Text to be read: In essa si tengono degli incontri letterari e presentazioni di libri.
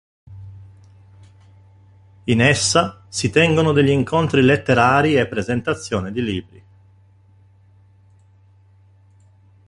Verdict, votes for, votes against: rejected, 1, 2